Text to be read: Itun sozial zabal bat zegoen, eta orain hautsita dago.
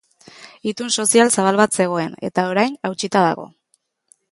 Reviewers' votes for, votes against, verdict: 2, 0, accepted